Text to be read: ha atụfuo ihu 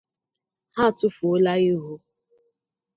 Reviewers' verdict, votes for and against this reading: rejected, 0, 2